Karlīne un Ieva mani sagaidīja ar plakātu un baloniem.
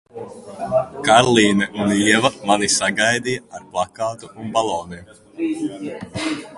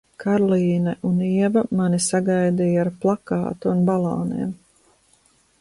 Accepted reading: second